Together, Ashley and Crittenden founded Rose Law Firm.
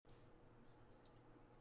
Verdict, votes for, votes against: rejected, 0, 2